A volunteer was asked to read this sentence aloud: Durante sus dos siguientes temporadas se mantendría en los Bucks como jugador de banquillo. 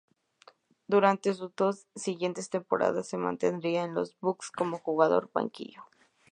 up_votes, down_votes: 2, 0